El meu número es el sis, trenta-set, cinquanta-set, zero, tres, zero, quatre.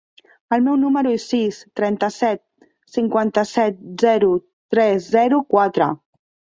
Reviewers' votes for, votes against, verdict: 1, 2, rejected